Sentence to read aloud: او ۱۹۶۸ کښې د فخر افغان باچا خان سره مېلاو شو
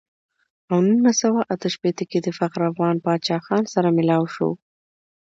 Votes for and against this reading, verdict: 0, 2, rejected